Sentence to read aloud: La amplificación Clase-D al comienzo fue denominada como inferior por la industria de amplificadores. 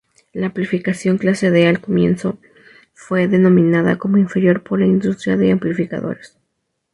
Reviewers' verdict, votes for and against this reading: rejected, 0, 2